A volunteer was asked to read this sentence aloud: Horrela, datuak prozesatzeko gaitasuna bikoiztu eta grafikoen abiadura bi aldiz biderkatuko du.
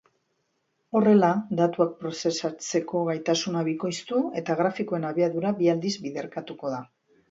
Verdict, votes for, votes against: accepted, 2, 0